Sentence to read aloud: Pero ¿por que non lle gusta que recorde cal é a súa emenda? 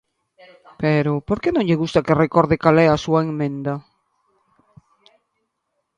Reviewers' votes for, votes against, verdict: 0, 2, rejected